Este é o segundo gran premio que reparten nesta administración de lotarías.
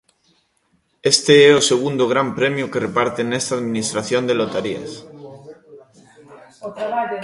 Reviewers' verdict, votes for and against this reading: rejected, 0, 2